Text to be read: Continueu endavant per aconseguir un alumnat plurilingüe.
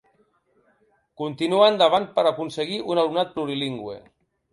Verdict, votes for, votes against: rejected, 0, 2